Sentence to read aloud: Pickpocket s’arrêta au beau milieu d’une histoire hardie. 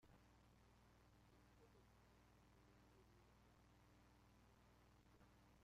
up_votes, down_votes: 0, 2